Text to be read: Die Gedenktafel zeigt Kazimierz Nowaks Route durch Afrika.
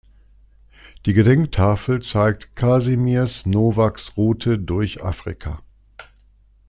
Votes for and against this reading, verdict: 2, 0, accepted